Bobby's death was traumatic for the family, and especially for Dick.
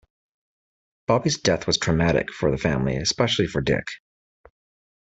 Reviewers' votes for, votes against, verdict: 1, 2, rejected